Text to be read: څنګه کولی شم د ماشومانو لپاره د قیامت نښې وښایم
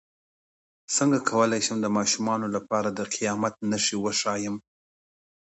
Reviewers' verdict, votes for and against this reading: accepted, 2, 0